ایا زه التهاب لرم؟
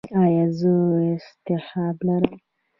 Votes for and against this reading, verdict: 0, 2, rejected